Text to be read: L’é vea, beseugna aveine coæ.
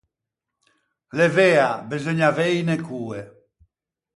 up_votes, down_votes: 0, 4